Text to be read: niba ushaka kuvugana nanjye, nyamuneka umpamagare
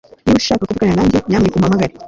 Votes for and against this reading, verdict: 1, 2, rejected